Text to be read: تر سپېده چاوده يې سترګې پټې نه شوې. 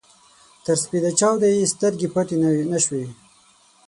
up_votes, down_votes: 3, 6